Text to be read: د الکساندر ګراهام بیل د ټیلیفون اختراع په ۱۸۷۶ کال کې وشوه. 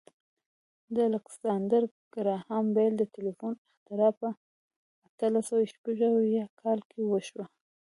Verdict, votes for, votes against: rejected, 0, 2